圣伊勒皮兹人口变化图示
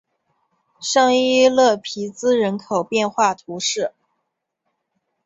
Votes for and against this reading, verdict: 2, 0, accepted